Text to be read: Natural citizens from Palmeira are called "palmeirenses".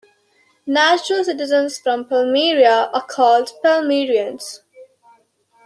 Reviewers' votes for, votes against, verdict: 1, 2, rejected